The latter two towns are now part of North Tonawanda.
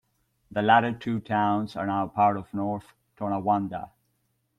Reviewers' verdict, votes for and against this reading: accepted, 2, 0